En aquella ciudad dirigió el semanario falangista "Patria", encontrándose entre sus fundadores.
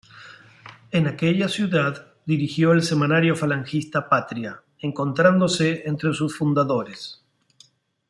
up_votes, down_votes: 2, 0